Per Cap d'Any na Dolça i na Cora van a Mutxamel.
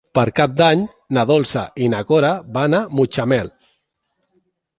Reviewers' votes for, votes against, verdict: 2, 0, accepted